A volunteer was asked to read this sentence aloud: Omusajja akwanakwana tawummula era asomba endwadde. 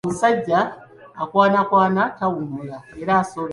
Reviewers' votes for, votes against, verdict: 0, 2, rejected